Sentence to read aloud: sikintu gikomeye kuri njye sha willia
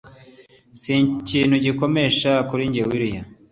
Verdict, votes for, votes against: accepted, 2, 0